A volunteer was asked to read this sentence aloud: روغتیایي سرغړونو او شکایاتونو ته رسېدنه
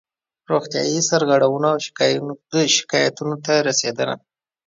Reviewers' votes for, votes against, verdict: 1, 2, rejected